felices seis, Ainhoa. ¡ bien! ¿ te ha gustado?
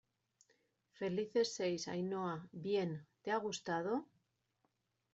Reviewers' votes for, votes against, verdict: 2, 0, accepted